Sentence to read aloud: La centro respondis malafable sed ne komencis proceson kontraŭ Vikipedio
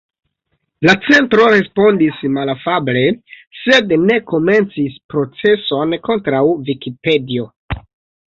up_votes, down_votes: 2, 0